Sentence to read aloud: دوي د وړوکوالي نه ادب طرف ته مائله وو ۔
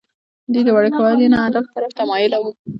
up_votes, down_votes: 1, 2